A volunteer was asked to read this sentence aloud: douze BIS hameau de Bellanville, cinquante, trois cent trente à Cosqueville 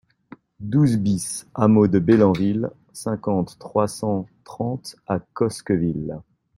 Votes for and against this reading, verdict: 0, 2, rejected